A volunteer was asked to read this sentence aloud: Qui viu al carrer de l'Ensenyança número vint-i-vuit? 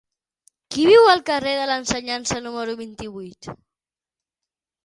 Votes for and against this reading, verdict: 6, 3, accepted